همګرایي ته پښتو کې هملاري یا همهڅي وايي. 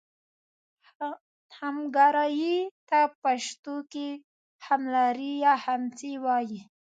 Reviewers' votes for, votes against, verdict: 2, 1, accepted